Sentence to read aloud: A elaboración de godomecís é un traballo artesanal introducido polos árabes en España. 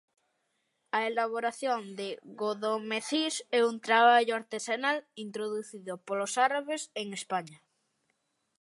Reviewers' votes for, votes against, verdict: 2, 0, accepted